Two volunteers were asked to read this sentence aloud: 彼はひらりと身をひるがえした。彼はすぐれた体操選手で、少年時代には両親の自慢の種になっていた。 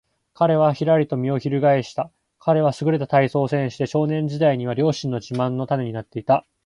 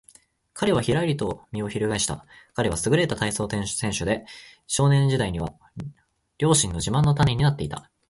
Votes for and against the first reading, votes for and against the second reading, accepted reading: 2, 0, 0, 2, first